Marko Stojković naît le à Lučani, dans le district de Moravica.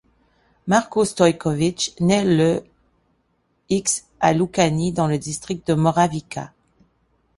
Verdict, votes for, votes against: rejected, 1, 2